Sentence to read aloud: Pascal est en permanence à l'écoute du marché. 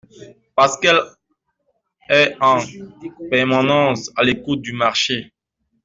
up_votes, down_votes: 1, 2